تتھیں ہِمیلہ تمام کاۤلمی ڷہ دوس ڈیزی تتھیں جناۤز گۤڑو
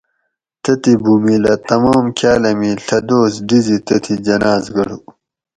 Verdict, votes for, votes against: rejected, 0, 4